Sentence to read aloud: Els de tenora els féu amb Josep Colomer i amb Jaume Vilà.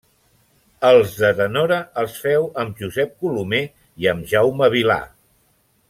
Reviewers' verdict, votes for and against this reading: accepted, 2, 0